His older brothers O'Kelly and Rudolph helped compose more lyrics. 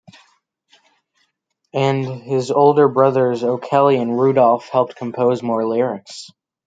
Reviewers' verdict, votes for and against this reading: accepted, 2, 1